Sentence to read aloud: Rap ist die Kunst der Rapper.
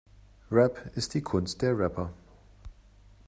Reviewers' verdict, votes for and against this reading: accepted, 2, 0